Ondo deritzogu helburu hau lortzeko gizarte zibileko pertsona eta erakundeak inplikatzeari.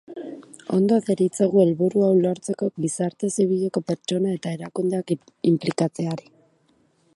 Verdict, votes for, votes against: rejected, 1, 2